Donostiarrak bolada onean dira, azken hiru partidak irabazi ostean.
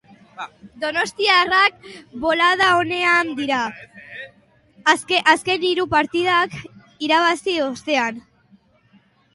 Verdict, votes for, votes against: rejected, 2, 3